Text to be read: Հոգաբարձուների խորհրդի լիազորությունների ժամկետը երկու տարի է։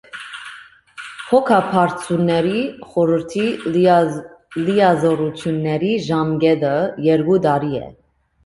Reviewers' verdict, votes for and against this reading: rejected, 0, 2